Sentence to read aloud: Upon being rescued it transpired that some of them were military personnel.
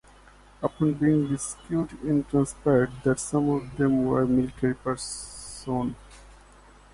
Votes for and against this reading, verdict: 0, 2, rejected